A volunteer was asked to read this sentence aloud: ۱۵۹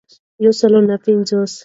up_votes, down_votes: 0, 2